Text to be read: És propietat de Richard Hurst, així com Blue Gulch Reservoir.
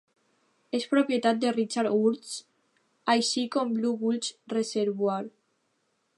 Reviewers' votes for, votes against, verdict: 0, 2, rejected